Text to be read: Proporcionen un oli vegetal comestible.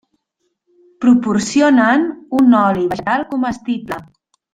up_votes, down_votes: 0, 2